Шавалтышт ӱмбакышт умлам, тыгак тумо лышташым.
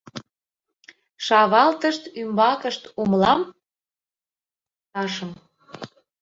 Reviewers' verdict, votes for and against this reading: rejected, 0, 2